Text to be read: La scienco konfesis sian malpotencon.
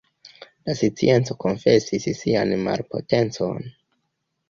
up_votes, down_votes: 0, 2